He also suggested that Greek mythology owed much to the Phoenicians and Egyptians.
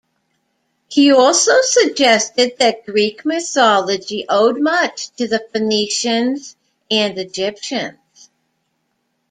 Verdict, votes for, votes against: accepted, 2, 0